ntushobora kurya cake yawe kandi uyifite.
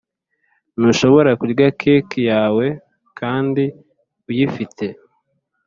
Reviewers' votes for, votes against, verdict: 2, 0, accepted